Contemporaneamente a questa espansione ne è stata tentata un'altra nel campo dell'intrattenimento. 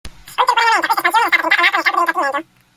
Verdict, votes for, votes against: rejected, 0, 2